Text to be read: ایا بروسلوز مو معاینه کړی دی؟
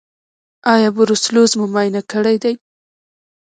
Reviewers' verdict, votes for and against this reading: rejected, 1, 2